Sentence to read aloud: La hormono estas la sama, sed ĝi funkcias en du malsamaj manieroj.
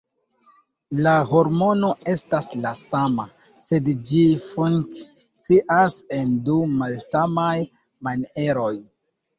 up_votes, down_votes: 2, 1